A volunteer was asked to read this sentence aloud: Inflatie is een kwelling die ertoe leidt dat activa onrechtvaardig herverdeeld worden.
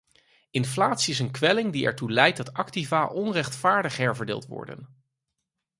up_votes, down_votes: 4, 0